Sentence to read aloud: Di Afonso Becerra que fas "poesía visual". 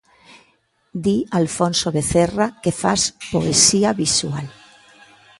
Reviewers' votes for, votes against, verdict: 0, 2, rejected